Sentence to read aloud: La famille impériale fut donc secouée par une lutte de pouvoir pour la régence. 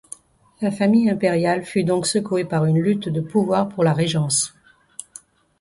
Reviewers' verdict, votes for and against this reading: accepted, 2, 0